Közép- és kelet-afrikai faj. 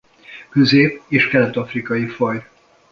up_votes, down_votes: 1, 2